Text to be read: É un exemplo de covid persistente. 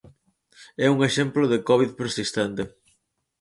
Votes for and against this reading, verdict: 4, 0, accepted